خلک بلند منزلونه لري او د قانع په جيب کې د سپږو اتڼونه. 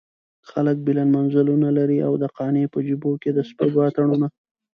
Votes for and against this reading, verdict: 2, 0, accepted